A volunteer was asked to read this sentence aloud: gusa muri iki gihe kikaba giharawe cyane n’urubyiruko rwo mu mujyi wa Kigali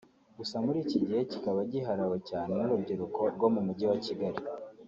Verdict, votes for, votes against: accepted, 2, 0